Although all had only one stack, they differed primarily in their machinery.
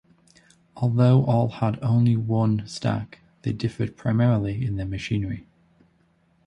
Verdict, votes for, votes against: accepted, 2, 0